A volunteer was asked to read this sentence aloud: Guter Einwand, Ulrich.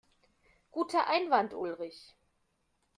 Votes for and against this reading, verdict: 2, 0, accepted